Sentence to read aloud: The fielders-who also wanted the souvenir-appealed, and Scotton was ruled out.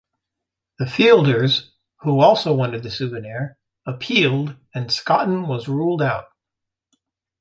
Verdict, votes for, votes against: rejected, 1, 2